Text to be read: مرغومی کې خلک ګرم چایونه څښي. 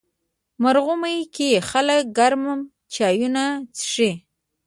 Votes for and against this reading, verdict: 2, 1, accepted